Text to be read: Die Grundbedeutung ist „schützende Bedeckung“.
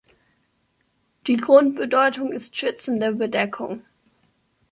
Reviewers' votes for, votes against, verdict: 2, 0, accepted